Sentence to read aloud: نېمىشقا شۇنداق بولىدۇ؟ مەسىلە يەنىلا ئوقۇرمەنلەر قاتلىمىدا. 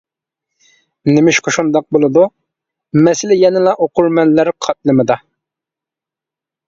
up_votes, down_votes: 2, 0